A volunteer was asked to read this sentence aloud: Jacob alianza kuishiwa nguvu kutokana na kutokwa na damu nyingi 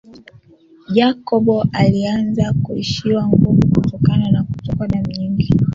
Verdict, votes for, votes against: accepted, 2, 0